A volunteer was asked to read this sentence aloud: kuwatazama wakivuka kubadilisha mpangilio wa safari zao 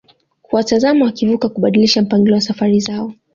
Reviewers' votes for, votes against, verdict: 2, 0, accepted